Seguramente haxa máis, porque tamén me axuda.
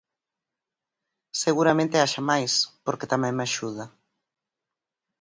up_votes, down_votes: 4, 0